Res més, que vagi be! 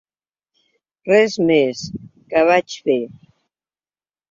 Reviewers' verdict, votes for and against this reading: rejected, 1, 2